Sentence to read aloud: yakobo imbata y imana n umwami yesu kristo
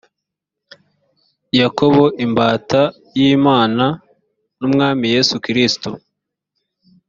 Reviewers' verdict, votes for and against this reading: accepted, 2, 0